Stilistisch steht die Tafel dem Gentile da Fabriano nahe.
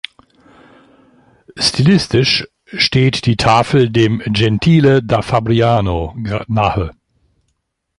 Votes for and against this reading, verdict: 1, 2, rejected